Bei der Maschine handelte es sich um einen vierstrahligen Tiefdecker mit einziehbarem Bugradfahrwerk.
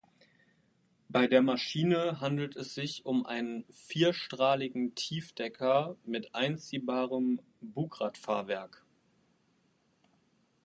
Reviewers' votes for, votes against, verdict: 0, 2, rejected